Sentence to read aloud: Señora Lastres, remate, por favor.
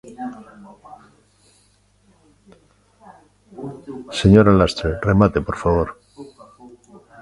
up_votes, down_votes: 0, 2